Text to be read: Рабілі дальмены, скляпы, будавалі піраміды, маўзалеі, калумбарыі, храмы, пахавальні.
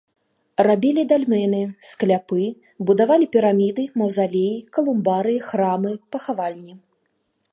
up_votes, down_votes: 3, 0